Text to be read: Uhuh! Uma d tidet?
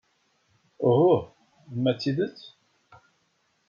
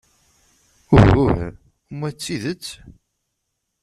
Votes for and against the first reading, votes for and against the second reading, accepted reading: 2, 1, 1, 2, first